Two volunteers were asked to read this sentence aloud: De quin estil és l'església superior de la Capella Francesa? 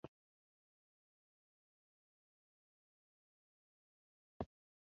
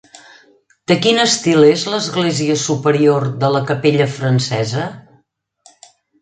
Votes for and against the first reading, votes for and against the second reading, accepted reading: 0, 2, 3, 0, second